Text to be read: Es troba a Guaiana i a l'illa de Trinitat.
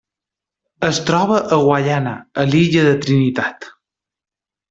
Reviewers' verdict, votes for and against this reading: rejected, 1, 2